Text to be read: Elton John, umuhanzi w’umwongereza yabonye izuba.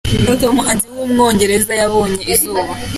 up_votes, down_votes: 2, 1